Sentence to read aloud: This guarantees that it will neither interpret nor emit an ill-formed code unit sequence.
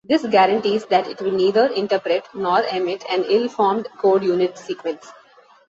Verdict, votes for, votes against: accepted, 2, 0